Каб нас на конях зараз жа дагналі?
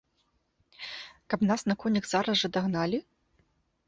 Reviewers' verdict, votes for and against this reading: accepted, 2, 0